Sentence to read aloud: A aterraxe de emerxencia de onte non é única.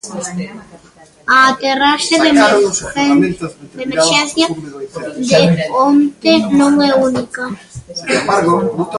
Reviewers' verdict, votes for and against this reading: rejected, 0, 2